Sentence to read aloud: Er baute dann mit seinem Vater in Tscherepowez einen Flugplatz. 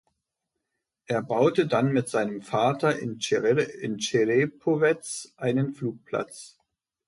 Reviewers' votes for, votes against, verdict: 0, 2, rejected